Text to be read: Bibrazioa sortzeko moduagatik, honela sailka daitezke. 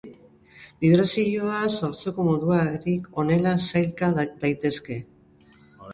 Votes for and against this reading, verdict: 0, 3, rejected